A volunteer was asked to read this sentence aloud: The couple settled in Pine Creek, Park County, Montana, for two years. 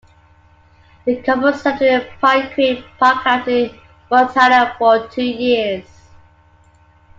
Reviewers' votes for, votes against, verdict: 1, 2, rejected